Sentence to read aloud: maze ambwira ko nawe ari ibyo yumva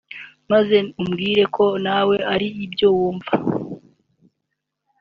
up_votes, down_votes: 1, 2